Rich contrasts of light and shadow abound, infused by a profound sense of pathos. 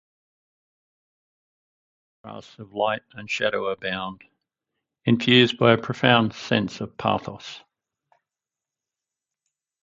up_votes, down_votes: 0, 4